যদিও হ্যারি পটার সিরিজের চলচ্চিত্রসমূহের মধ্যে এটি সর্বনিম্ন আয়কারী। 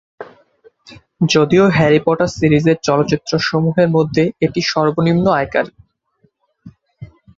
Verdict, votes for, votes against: accepted, 3, 0